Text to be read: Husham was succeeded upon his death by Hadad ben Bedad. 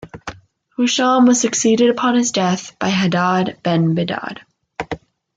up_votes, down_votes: 2, 1